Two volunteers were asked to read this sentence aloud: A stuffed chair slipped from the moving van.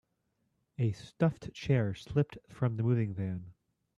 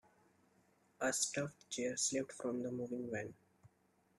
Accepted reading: first